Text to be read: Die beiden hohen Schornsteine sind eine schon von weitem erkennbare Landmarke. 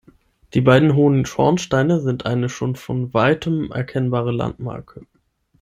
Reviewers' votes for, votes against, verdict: 6, 0, accepted